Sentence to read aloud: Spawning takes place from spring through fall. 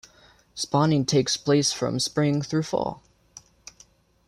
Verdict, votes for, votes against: accepted, 2, 0